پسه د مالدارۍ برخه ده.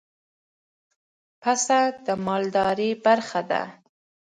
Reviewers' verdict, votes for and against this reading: accepted, 2, 0